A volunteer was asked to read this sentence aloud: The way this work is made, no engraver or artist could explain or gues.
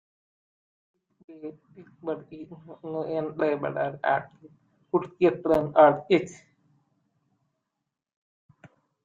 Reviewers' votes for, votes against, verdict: 0, 2, rejected